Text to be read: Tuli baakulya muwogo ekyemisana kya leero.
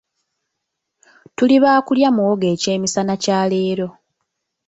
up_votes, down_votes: 2, 0